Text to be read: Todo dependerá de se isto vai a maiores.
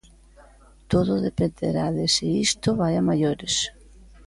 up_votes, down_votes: 2, 0